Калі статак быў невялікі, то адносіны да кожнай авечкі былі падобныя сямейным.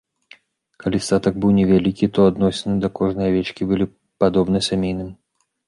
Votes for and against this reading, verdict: 0, 2, rejected